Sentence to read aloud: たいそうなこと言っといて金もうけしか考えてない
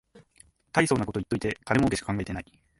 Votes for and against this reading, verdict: 0, 2, rejected